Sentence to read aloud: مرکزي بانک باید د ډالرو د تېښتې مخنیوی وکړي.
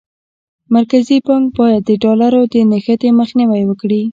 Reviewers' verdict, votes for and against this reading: rejected, 0, 2